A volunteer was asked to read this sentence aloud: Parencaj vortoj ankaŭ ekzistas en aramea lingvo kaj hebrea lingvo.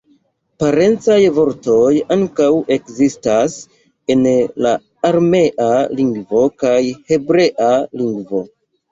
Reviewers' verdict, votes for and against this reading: rejected, 1, 2